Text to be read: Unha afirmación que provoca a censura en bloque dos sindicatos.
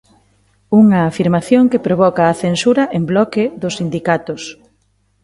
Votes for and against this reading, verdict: 0, 2, rejected